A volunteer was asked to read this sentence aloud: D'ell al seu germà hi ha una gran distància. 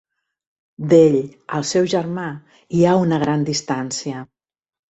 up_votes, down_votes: 2, 0